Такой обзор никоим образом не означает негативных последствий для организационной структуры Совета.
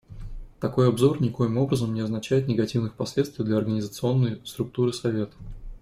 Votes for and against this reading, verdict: 2, 0, accepted